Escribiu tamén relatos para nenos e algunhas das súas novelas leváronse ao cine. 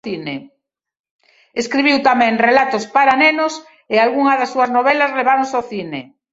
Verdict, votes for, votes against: rejected, 0, 2